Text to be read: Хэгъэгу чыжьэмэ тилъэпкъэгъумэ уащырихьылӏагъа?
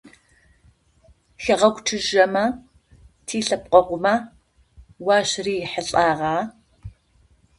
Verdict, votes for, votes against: accepted, 2, 0